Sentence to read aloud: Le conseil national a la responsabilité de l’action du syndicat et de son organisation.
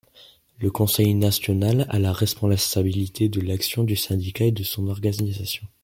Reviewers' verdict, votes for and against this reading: accepted, 2, 1